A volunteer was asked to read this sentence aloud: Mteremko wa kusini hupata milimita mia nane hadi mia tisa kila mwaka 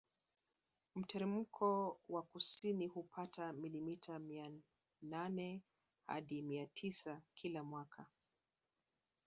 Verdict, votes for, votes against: rejected, 0, 2